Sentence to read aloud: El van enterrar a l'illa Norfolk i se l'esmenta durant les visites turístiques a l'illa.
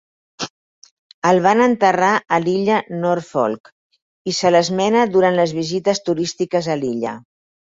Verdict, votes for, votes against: rejected, 0, 4